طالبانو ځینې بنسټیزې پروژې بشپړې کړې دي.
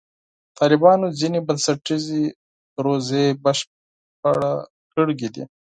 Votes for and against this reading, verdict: 0, 4, rejected